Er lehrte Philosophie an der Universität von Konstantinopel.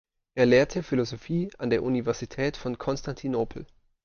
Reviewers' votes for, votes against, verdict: 2, 0, accepted